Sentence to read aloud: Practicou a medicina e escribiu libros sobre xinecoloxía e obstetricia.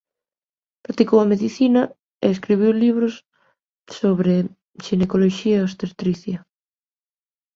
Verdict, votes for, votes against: rejected, 0, 2